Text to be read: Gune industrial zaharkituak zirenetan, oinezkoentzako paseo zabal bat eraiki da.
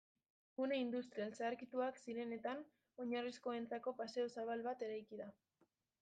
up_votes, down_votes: 0, 2